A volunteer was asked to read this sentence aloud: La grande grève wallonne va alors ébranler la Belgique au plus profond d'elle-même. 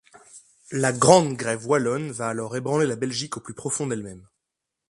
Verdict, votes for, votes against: accepted, 2, 0